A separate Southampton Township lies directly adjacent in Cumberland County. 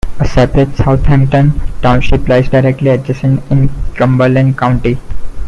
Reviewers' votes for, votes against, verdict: 2, 0, accepted